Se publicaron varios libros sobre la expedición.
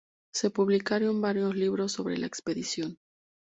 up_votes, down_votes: 2, 0